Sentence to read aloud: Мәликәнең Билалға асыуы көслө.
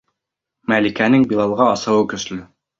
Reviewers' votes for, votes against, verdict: 2, 0, accepted